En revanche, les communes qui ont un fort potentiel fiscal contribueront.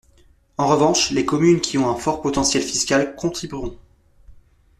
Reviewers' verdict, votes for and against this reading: rejected, 1, 2